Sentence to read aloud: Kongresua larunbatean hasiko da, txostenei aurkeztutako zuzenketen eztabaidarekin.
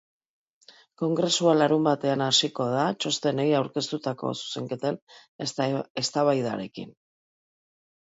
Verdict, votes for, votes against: rejected, 0, 2